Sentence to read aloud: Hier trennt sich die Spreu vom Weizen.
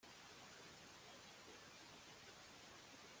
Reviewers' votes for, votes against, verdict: 0, 2, rejected